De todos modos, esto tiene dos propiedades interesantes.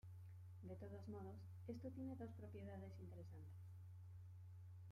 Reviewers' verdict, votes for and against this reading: rejected, 0, 2